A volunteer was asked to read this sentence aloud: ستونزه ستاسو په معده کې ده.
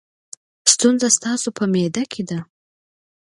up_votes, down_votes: 2, 0